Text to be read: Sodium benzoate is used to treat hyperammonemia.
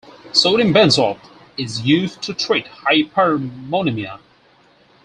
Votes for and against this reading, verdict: 4, 0, accepted